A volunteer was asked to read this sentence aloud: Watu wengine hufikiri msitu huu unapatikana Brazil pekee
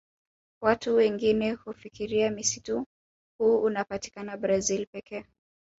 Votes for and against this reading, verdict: 1, 2, rejected